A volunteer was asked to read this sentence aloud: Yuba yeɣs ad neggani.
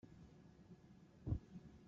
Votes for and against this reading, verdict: 0, 2, rejected